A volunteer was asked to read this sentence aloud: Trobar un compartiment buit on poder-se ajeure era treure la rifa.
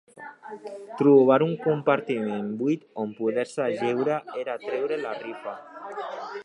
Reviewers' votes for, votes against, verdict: 2, 1, accepted